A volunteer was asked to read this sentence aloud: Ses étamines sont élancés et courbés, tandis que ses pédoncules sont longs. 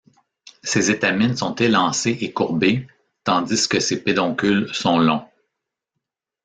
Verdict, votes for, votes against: accepted, 2, 0